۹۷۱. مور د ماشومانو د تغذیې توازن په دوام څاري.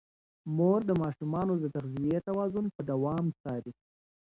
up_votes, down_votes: 0, 2